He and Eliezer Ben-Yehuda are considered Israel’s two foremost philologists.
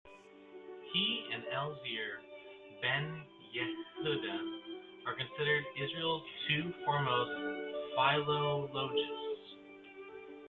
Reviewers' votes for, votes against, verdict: 1, 2, rejected